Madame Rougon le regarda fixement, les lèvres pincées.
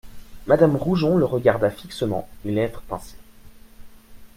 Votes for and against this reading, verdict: 0, 2, rejected